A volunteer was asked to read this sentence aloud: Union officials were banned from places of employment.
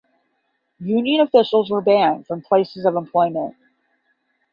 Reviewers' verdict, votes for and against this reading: accepted, 5, 0